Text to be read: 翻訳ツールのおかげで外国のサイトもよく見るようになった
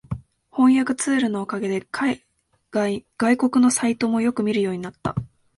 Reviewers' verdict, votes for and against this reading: rejected, 0, 2